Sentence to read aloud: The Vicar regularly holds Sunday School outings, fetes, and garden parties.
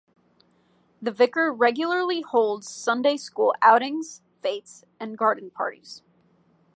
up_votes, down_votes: 2, 0